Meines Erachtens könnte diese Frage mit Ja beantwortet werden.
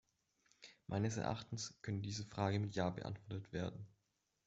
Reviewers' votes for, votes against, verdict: 1, 2, rejected